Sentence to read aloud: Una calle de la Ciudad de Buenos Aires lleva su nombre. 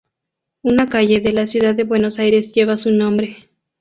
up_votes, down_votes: 2, 0